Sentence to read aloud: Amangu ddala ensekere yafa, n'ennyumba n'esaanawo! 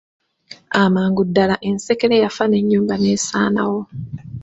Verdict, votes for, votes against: rejected, 1, 2